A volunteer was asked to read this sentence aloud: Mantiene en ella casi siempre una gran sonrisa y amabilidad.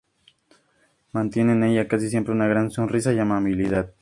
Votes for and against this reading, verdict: 2, 0, accepted